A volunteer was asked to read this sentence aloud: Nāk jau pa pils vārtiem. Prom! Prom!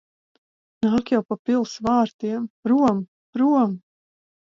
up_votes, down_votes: 4, 0